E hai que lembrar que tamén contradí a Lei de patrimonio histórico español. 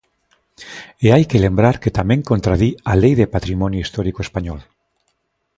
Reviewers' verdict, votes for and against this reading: accepted, 2, 0